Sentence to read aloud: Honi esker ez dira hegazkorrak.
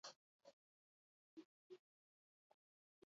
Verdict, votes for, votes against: rejected, 0, 2